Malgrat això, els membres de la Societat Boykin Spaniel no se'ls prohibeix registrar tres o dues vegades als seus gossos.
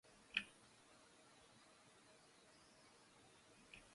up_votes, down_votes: 0, 2